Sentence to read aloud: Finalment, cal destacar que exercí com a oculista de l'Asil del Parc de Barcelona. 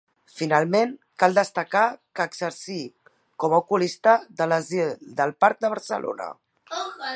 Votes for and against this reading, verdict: 1, 2, rejected